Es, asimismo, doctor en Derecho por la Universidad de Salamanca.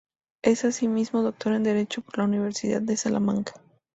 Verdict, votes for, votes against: accepted, 2, 0